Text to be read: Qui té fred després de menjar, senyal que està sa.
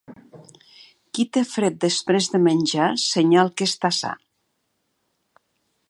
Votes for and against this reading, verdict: 2, 0, accepted